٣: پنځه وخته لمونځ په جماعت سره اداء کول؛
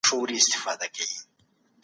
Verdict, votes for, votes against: rejected, 0, 2